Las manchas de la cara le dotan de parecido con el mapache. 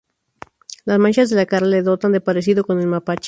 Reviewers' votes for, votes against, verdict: 2, 4, rejected